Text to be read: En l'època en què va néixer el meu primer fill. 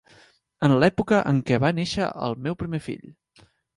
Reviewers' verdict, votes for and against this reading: accepted, 3, 0